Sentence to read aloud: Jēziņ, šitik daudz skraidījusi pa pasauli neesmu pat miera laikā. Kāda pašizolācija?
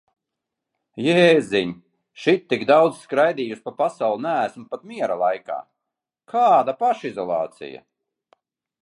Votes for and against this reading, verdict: 2, 0, accepted